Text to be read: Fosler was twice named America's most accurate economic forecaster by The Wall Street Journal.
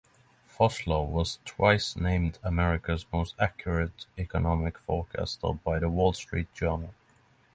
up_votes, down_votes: 3, 0